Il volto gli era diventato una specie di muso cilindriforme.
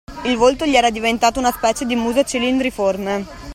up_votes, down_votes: 2, 0